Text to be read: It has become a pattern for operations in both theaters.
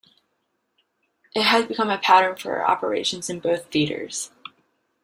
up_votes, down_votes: 1, 2